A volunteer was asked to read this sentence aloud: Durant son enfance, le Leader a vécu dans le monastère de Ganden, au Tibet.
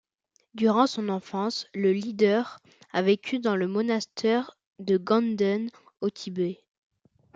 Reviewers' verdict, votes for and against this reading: accepted, 2, 0